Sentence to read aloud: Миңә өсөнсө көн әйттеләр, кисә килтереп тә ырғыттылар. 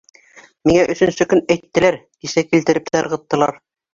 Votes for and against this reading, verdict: 2, 0, accepted